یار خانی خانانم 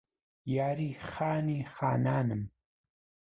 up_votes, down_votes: 1, 2